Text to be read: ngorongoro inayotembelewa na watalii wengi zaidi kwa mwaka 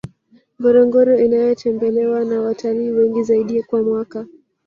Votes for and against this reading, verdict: 1, 2, rejected